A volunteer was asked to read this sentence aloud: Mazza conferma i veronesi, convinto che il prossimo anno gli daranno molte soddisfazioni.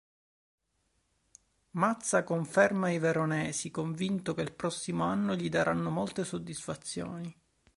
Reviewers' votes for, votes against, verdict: 2, 0, accepted